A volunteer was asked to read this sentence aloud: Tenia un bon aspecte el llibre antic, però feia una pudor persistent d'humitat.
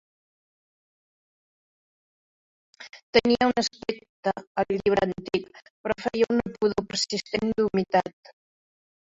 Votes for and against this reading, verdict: 1, 2, rejected